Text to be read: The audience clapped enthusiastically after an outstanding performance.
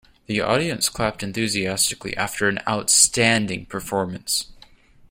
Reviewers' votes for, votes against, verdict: 2, 0, accepted